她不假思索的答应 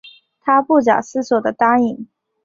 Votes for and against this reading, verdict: 2, 0, accepted